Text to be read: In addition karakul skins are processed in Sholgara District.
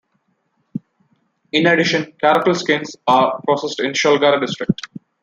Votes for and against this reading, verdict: 2, 0, accepted